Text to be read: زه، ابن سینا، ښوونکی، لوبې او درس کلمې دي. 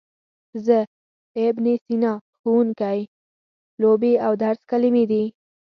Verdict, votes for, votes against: accepted, 2, 0